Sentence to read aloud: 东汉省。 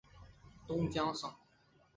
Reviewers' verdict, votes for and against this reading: rejected, 0, 2